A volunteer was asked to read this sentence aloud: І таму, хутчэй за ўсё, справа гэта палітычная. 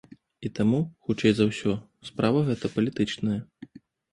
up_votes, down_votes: 2, 0